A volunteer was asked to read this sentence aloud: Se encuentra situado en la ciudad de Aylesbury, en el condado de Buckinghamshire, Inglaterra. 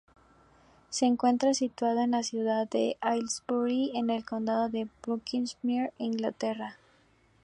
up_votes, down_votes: 0, 4